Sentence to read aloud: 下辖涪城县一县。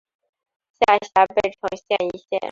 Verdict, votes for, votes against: rejected, 1, 2